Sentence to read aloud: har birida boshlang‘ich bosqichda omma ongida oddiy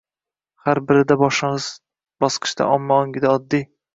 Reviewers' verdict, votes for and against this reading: rejected, 0, 3